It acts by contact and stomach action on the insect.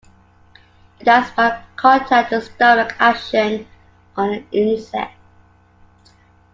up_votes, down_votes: 2, 1